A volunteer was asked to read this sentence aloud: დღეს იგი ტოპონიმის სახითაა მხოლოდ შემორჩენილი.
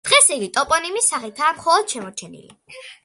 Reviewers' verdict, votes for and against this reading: accepted, 2, 1